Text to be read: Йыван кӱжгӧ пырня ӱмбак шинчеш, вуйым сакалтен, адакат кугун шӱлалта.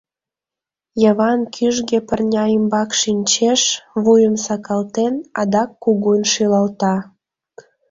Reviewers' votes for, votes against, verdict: 1, 2, rejected